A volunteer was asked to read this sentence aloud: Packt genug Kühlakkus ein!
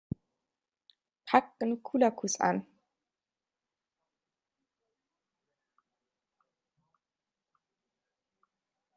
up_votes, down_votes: 1, 2